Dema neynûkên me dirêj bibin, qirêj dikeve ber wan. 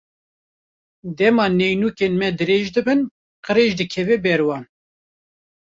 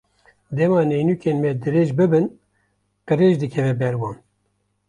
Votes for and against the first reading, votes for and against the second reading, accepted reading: 0, 2, 2, 0, second